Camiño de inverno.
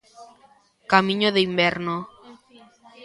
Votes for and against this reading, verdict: 2, 0, accepted